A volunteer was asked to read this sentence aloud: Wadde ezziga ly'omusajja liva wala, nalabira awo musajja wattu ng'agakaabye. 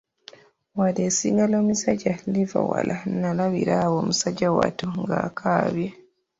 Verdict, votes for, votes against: rejected, 1, 2